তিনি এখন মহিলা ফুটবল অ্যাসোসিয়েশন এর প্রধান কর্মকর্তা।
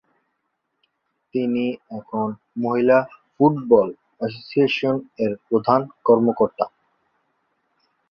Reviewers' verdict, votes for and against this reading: rejected, 2, 2